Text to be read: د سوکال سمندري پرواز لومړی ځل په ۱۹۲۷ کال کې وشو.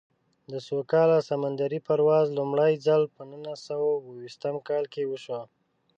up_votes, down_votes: 0, 2